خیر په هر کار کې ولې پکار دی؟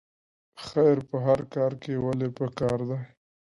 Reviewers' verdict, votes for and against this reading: rejected, 0, 2